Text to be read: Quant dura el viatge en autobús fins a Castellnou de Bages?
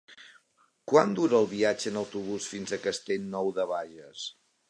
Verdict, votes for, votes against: accepted, 4, 1